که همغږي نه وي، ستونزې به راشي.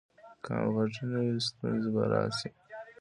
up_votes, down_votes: 2, 0